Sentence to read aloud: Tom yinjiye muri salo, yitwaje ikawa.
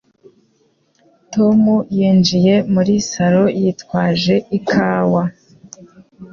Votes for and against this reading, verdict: 2, 0, accepted